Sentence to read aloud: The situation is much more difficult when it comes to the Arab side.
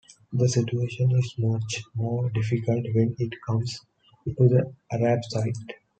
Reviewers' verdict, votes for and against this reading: accepted, 2, 0